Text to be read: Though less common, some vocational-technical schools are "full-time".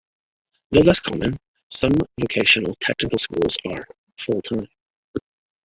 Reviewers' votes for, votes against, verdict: 0, 2, rejected